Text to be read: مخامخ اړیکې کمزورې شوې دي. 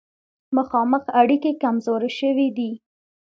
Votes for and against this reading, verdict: 2, 0, accepted